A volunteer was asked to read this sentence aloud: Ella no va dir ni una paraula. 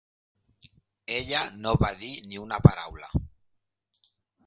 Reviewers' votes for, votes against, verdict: 3, 0, accepted